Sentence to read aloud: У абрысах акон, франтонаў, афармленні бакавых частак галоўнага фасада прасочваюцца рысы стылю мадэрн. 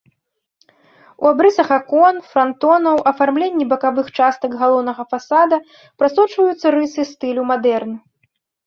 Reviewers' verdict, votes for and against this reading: accepted, 2, 0